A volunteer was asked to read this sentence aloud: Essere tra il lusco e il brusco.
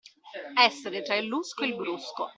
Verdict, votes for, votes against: accepted, 2, 0